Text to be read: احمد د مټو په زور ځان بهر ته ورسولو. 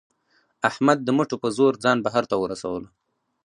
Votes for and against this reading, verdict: 4, 0, accepted